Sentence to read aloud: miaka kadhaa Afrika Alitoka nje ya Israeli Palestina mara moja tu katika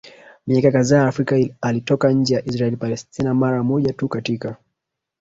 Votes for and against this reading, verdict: 1, 2, rejected